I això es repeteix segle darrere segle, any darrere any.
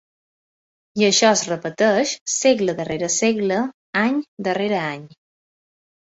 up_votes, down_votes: 6, 0